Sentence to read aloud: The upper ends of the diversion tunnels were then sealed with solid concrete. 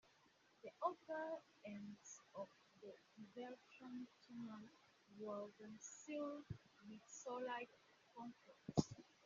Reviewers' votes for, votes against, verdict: 0, 2, rejected